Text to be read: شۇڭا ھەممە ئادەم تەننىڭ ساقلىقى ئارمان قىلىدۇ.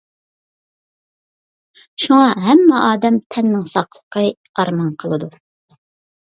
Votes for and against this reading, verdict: 2, 0, accepted